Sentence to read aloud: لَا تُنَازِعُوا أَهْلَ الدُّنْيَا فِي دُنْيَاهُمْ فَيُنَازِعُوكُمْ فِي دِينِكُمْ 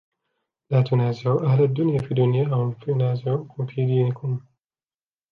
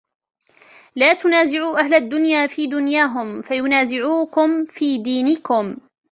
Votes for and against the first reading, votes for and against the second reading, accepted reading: 1, 2, 2, 0, second